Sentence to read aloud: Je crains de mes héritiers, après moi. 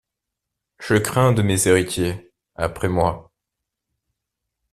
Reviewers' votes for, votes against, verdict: 2, 0, accepted